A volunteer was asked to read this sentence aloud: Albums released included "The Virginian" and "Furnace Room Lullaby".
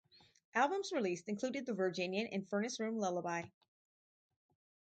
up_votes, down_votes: 4, 0